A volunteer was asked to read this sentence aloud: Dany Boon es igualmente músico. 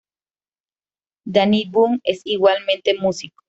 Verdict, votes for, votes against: accepted, 2, 0